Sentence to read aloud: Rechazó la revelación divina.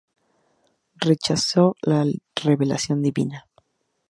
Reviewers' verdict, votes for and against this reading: accepted, 2, 0